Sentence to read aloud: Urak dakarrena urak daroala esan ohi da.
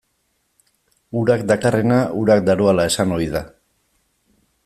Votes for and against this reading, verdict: 2, 0, accepted